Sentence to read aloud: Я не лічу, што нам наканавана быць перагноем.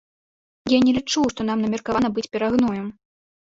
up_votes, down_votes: 1, 2